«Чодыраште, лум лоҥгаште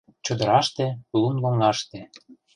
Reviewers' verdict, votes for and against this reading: rejected, 0, 2